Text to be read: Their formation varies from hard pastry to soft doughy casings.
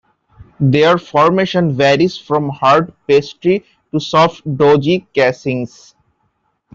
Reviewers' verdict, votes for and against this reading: rejected, 0, 2